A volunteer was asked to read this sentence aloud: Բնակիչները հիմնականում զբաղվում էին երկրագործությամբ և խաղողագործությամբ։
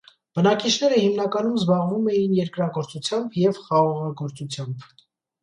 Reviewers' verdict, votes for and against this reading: accepted, 2, 0